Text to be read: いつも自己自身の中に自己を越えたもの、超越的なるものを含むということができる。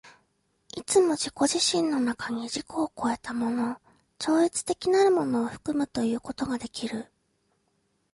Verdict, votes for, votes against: accepted, 2, 0